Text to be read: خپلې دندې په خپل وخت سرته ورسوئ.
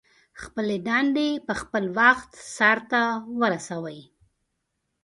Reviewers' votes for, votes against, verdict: 2, 0, accepted